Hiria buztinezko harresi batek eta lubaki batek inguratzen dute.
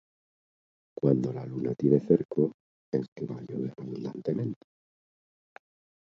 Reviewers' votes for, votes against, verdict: 0, 2, rejected